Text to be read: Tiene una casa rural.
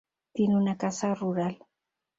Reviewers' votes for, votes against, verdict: 2, 0, accepted